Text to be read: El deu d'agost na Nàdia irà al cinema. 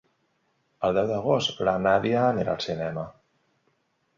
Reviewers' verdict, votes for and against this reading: accepted, 2, 1